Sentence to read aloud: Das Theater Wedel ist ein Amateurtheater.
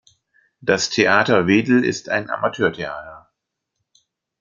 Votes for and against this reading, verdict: 1, 2, rejected